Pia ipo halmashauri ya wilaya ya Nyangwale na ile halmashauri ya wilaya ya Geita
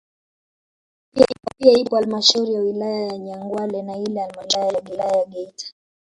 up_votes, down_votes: 1, 2